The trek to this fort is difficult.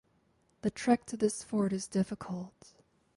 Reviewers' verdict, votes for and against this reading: accepted, 4, 0